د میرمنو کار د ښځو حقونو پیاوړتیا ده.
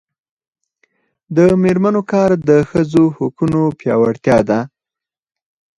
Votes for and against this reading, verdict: 4, 2, accepted